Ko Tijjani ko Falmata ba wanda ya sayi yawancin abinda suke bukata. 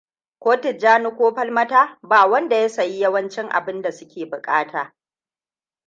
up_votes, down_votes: 2, 0